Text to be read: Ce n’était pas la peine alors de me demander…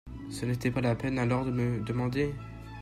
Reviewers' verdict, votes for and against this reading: rejected, 1, 2